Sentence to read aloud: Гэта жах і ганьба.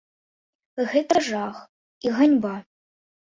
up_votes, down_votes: 1, 2